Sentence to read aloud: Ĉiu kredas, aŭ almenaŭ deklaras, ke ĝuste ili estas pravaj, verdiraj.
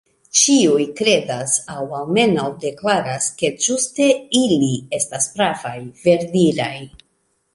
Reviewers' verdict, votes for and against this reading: rejected, 1, 2